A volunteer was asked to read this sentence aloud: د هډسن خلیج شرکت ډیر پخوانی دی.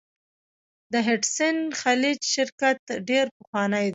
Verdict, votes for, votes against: rejected, 1, 2